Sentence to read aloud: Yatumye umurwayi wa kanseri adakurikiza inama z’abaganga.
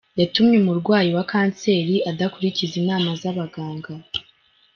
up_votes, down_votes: 2, 0